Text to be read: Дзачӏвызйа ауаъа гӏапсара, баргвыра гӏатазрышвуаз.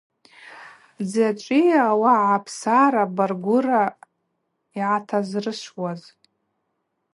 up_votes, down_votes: 0, 2